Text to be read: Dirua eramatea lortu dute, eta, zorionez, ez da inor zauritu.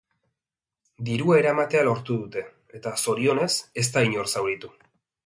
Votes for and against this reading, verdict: 6, 0, accepted